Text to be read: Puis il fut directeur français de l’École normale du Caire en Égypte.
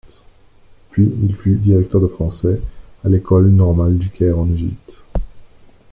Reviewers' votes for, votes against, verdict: 0, 2, rejected